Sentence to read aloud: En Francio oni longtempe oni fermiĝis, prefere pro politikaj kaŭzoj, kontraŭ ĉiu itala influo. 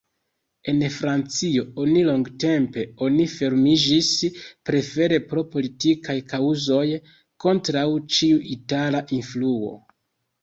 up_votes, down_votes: 3, 0